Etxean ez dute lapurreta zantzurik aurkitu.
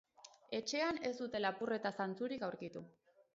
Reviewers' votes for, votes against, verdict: 2, 0, accepted